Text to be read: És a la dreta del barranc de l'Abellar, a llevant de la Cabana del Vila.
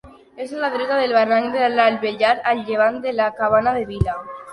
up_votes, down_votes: 2, 3